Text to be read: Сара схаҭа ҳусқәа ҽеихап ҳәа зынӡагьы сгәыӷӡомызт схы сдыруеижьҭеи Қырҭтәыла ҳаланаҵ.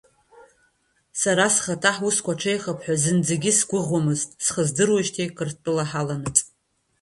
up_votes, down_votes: 2, 1